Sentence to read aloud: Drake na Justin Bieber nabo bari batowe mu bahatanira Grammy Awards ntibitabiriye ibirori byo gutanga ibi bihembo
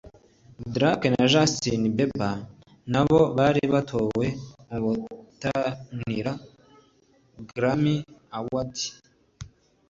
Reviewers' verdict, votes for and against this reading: rejected, 0, 2